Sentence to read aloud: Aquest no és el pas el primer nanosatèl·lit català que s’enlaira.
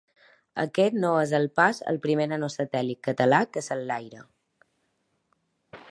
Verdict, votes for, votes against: accepted, 2, 0